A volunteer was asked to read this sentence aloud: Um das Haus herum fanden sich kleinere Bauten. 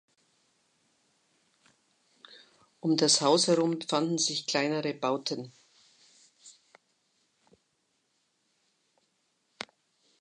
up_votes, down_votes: 2, 1